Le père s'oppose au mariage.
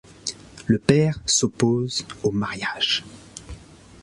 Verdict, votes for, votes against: accepted, 2, 0